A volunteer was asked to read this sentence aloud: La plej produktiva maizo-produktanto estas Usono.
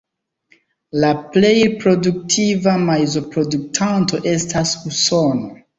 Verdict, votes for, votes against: accepted, 2, 0